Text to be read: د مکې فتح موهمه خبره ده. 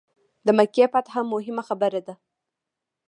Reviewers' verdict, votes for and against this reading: accepted, 2, 0